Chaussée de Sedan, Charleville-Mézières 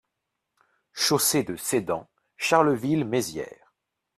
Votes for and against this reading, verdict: 2, 3, rejected